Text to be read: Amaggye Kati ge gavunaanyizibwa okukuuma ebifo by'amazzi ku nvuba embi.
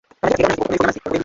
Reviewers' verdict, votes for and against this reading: rejected, 0, 2